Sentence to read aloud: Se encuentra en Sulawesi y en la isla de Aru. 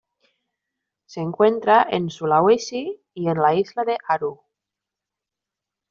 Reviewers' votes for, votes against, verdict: 2, 0, accepted